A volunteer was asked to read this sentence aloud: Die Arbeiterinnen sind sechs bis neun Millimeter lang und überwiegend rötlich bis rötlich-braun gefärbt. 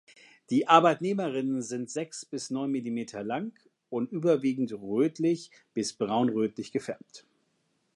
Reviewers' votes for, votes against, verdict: 0, 2, rejected